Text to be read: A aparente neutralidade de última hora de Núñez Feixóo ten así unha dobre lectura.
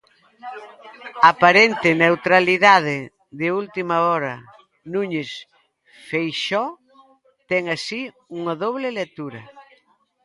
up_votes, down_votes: 0, 2